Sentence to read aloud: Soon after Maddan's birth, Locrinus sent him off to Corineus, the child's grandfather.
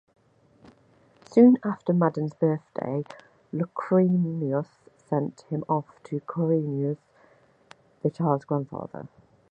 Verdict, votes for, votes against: rejected, 1, 2